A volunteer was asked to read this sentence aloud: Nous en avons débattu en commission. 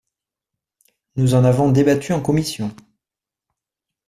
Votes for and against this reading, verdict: 2, 0, accepted